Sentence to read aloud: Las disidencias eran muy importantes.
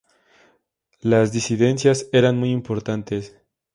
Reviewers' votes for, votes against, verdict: 2, 0, accepted